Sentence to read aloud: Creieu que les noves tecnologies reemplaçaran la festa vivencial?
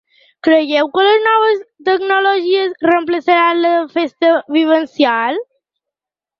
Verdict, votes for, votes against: accepted, 3, 0